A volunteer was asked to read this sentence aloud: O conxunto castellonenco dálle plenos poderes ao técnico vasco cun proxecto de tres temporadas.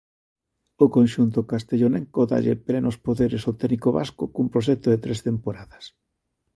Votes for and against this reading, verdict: 2, 0, accepted